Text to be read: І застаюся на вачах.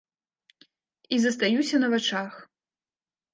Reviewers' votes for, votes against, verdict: 2, 0, accepted